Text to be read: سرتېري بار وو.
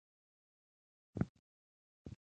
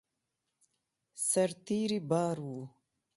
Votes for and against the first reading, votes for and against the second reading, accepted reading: 1, 2, 2, 0, second